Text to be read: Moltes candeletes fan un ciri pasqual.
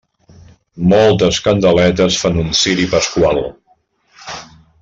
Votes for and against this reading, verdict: 4, 1, accepted